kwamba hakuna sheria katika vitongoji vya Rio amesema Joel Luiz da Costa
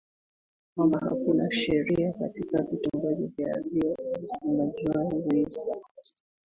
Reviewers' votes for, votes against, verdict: 1, 2, rejected